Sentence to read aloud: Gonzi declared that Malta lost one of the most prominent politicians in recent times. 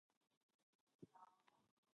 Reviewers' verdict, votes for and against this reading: rejected, 0, 2